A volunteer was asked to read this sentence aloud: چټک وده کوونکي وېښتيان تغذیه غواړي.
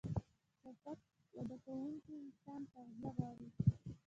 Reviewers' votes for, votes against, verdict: 1, 2, rejected